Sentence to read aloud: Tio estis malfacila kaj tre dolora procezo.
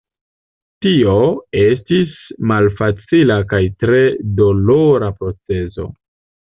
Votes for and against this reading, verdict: 2, 0, accepted